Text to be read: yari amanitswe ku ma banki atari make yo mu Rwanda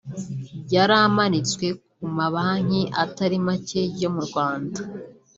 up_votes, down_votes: 2, 0